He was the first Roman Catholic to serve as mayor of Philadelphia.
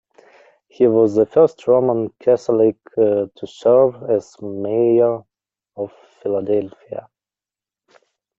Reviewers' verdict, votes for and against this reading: rejected, 1, 2